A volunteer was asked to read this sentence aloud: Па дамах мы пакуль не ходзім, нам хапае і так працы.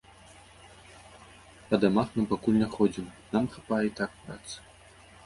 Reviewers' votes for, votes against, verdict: 0, 2, rejected